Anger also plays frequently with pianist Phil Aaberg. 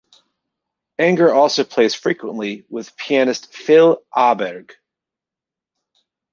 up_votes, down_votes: 2, 0